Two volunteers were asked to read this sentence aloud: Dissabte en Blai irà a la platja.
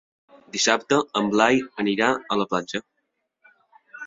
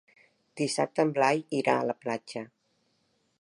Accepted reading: second